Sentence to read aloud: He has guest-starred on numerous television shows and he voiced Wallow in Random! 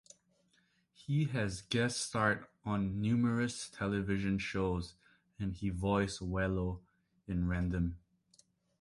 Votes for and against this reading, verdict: 1, 2, rejected